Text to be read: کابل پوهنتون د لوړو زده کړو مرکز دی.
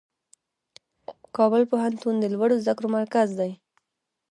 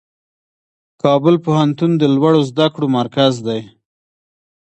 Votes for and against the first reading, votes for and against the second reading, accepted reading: 1, 2, 2, 0, second